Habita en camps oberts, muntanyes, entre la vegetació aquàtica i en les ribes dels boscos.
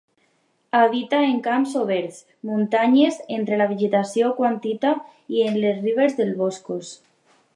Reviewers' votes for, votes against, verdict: 2, 2, rejected